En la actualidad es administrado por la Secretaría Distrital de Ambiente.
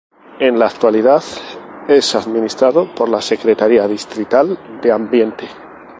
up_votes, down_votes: 2, 0